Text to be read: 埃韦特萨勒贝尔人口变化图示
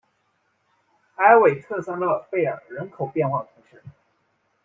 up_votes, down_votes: 1, 2